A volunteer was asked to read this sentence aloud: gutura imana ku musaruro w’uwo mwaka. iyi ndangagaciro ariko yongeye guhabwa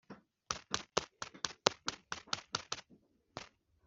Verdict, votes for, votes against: rejected, 0, 2